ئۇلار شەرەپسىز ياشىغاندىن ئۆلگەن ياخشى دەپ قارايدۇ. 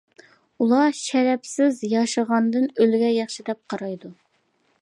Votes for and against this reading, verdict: 2, 0, accepted